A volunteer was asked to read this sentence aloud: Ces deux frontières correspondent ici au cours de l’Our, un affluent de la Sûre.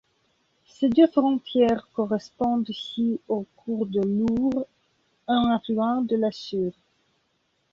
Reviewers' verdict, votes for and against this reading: rejected, 1, 2